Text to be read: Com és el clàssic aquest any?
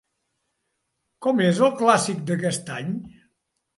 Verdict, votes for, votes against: rejected, 1, 2